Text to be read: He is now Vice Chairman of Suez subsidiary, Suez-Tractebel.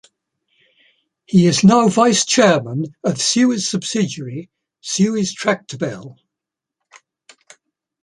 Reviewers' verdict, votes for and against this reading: accepted, 2, 0